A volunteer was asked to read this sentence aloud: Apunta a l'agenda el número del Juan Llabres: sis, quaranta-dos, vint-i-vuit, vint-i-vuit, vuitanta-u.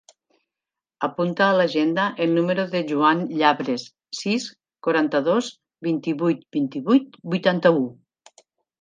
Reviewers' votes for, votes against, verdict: 1, 2, rejected